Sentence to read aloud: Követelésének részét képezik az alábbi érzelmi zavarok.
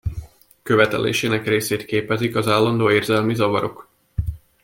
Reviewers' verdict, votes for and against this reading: rejected, 0, 2